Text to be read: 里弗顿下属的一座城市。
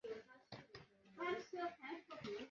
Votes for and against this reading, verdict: 0, 2, rejected